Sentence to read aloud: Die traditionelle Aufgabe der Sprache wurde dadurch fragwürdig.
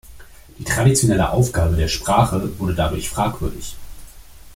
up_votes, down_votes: 1, 2